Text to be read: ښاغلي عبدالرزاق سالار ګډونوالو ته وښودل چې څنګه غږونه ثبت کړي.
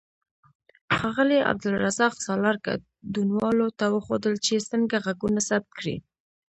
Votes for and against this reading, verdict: 0, 2, rejected